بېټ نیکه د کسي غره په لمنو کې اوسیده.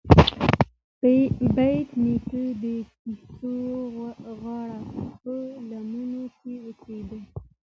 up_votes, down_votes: 2, 0